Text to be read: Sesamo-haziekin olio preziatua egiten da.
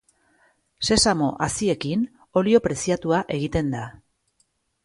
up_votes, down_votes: 3, 0